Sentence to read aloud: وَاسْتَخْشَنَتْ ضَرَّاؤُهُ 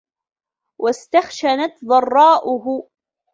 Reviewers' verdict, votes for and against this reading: accepted, 2, 0